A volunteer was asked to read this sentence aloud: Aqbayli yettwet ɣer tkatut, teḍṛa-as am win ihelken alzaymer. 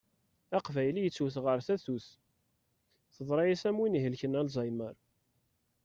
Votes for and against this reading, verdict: 1, 2, rejected